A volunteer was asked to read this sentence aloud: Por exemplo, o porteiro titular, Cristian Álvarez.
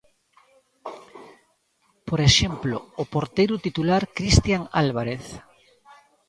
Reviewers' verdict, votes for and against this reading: accepted, 2, 1